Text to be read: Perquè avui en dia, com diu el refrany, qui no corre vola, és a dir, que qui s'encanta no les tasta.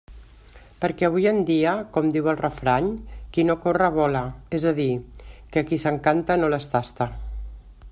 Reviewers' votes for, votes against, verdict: 3, 0, accepted